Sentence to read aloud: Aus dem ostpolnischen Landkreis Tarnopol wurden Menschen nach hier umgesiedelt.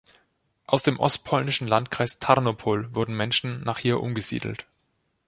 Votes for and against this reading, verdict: 2, 0, accepted